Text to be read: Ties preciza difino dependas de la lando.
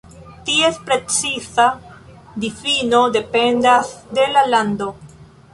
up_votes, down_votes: 0, 2